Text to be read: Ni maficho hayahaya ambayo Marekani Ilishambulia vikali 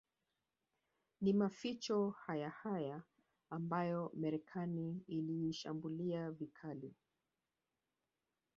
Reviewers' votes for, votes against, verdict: 1, 2, rejected